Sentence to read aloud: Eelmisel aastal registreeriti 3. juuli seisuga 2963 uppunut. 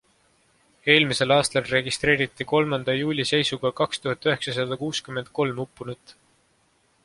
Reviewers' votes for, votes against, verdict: 0, 2, rejected